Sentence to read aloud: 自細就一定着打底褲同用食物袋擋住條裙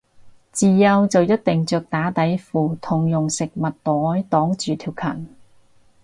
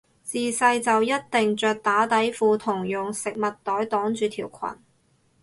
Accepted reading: second